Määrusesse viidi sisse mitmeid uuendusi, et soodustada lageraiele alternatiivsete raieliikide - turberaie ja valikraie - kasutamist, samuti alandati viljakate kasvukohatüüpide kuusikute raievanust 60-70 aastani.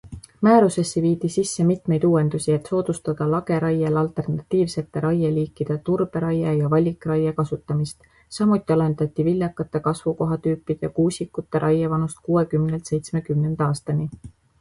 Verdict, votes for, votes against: rejected, 0, 2